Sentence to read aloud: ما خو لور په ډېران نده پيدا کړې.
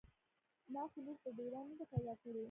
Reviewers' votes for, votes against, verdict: 0, 2, rejected